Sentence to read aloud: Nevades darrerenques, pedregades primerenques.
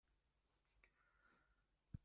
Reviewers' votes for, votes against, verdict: 0, 2, rejected